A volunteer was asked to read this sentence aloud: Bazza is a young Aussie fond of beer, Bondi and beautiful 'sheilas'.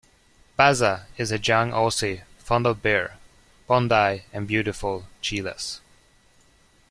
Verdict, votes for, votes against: rejected, 1, 2